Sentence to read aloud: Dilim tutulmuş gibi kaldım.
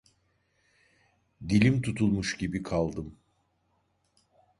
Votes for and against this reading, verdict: 2, 0, accepted